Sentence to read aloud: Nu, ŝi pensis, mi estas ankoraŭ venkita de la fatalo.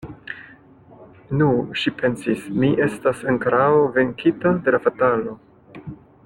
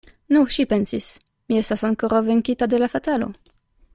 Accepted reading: second